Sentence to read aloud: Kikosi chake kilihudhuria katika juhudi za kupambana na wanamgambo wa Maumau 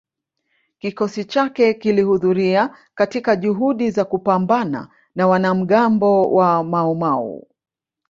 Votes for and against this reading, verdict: 1, 2, rejected